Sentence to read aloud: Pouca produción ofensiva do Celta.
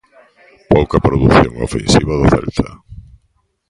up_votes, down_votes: 1, 2